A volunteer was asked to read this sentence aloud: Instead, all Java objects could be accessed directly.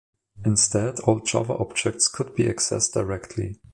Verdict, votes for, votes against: accepted, 2, 0